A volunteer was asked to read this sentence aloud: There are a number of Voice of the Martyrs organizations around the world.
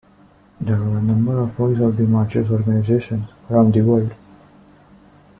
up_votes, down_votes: 0, 2